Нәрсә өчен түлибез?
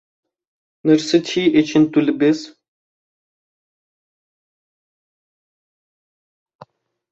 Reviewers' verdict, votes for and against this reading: rejected, 0, 2